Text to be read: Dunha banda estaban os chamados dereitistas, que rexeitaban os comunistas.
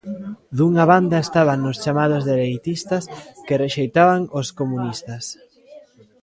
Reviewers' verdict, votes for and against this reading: rejected, 0, 2